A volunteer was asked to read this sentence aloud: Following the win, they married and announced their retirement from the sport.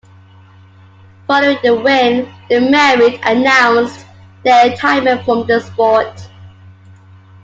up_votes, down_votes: 2, 1